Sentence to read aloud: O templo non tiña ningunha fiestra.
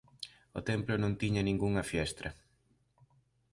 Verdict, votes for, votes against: accepted, 2, 0